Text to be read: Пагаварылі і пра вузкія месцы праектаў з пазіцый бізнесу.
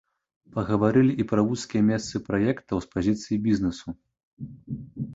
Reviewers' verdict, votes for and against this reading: accepted, 2, 0